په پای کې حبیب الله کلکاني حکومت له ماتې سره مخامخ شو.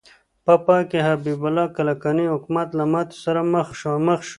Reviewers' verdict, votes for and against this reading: rejected, 1, 2